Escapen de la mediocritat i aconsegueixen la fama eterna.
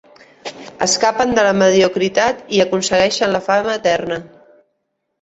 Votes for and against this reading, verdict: 2, 0, accepted